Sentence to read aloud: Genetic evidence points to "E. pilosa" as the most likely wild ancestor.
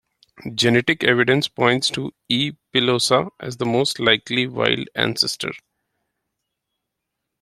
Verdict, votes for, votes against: accepted, 2, 0